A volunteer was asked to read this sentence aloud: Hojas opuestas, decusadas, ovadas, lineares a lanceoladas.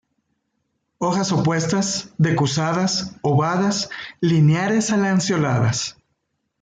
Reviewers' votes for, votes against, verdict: 1, 2, rejected